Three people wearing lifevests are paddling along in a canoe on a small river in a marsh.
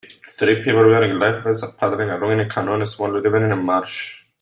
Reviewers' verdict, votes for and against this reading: rejected, 0, 2